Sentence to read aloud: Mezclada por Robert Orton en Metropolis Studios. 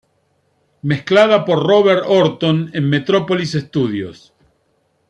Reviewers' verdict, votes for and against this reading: accepted, 2, 0